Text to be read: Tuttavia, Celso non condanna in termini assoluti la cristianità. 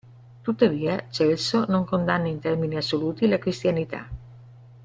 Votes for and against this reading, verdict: 2, 0, accepted